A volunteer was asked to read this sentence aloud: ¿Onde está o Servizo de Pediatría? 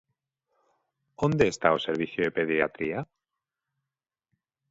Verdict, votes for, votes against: rejected, 1, 2